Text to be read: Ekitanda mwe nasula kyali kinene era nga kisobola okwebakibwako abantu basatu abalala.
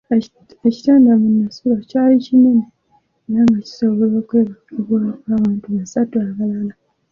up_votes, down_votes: 2, 1